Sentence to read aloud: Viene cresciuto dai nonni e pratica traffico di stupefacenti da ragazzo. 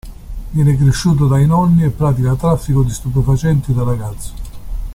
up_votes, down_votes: 2, 0